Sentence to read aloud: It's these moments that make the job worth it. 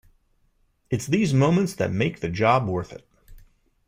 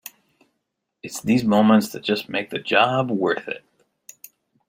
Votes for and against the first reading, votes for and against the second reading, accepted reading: 2, 0, 0, 2, first